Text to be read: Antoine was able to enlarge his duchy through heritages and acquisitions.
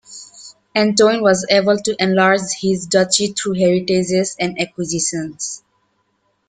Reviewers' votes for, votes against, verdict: 2, 1, accepted